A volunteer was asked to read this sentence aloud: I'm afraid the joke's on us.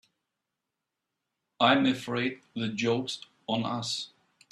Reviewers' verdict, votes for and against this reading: accepted, 2, 0